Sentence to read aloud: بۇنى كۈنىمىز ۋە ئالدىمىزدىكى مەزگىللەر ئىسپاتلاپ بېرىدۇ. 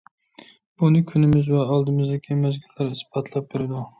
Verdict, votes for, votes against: accepted, 2, 0